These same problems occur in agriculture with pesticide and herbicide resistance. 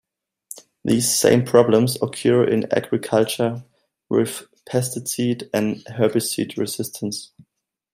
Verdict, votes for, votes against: rejected, 0, 2